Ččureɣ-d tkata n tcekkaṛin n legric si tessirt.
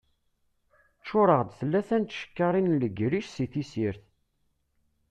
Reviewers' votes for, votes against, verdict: 0, 2, rejected